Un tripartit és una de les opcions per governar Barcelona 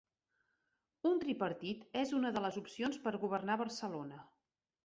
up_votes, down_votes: 3, 0